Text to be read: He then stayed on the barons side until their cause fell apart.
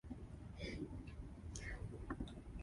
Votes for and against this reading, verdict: 0, 2, rejected